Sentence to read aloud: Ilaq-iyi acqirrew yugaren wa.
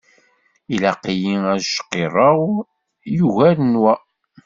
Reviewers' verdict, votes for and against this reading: accepted, 2, 0